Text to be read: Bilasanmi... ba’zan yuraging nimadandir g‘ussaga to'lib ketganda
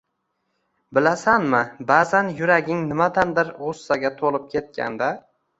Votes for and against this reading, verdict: 2, 0, accepted